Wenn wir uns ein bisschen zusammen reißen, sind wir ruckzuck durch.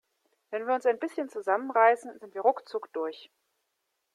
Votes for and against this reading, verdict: 2, 0, accepted